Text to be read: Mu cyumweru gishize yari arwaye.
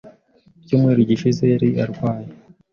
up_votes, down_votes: 2, 0